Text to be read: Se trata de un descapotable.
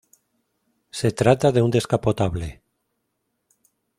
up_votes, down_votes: 2, 0